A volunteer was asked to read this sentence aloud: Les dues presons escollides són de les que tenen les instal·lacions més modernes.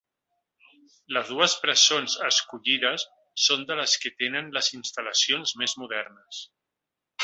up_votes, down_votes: 3, 0